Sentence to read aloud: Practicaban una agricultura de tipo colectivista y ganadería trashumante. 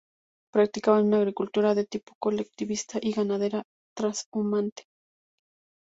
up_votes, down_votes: 0, 2